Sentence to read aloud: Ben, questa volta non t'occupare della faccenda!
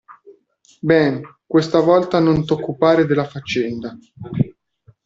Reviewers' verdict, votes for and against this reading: accepted, 2, 0